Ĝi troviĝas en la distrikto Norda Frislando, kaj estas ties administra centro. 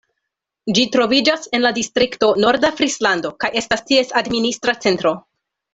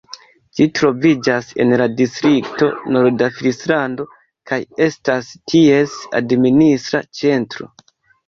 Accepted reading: first